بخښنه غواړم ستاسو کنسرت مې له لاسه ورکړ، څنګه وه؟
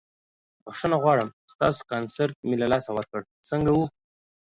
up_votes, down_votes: 2, 0